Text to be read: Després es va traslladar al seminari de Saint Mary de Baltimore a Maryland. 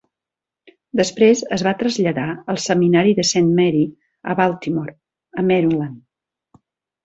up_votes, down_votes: 1, 3